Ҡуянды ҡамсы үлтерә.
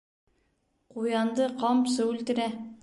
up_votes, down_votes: 2, 0